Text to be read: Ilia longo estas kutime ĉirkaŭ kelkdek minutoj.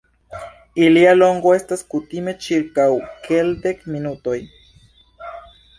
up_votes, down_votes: 2, 1